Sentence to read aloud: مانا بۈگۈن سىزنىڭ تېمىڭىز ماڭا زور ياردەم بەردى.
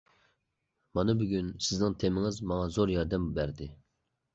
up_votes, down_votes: 2, 0